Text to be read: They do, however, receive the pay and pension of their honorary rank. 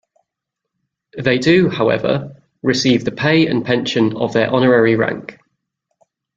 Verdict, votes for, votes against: accepted, 2, 1